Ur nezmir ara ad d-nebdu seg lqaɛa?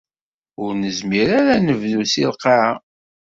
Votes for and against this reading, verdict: 2, 1, accepted